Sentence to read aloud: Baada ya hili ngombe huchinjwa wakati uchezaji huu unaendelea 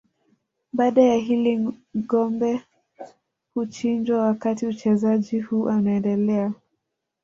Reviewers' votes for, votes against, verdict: 0, 2, rejected